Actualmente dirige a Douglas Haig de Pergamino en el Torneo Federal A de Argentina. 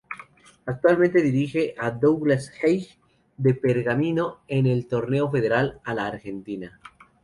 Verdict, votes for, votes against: rejected, 0, 2